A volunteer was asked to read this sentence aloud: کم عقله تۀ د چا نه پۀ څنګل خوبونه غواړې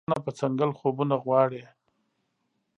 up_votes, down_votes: 0, 2